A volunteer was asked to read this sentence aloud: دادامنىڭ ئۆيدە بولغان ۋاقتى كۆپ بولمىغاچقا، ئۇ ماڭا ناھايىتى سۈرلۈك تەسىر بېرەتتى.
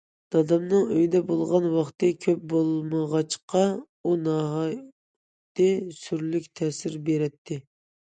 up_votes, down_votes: 0, 2